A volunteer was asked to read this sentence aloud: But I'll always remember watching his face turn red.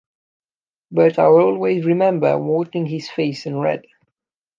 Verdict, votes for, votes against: rejected, 0, 2